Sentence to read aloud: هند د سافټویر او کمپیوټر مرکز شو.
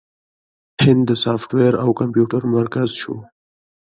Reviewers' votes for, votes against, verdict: 2, 0, accepted